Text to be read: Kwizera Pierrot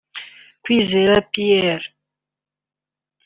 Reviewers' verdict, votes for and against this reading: accepted, 3, 1